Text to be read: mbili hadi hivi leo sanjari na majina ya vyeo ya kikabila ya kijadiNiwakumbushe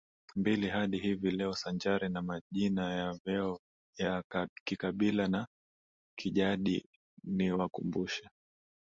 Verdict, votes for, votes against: rejected, 2, 3